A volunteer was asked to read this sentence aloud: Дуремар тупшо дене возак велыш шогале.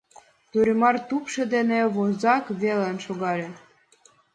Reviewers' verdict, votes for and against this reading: rejected, 2, 3